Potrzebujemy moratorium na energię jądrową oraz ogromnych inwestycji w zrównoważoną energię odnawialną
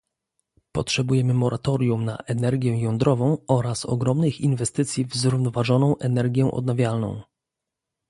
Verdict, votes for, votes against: accepted, 2, 0